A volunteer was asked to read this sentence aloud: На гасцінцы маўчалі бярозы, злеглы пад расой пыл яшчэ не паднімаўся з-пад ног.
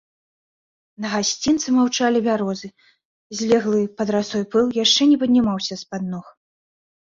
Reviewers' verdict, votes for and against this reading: accepted, 2, 0